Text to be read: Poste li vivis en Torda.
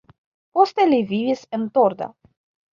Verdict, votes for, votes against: accepted, 2, 1